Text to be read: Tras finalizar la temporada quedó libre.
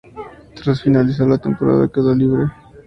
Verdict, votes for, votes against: accepted, 4, 2